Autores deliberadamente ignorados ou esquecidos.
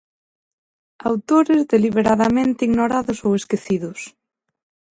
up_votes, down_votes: 2, 0